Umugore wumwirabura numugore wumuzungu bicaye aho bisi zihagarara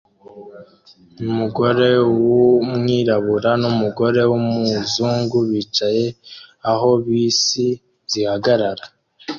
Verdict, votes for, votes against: accepted, 2, 0